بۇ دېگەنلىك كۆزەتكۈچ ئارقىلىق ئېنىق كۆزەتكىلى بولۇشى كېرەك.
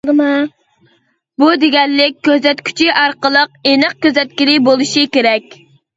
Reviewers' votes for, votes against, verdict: 1, 2, rejected